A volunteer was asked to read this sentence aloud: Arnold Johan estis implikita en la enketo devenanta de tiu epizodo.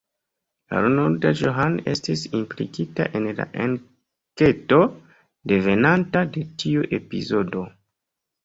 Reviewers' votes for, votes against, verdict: 3, 0, accepted